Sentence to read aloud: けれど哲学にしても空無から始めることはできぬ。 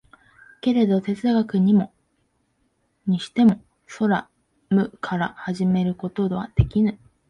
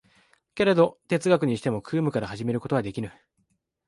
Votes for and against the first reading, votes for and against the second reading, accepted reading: 1, 2, 3, 0, second